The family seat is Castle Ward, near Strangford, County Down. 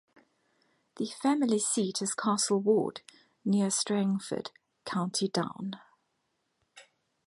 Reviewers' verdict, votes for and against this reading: accepted, 2, 0